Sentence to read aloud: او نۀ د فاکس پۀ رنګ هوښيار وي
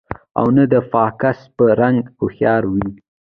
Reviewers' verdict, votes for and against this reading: rejected, 0, 2